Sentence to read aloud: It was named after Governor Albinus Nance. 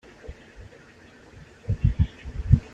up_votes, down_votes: 0, 2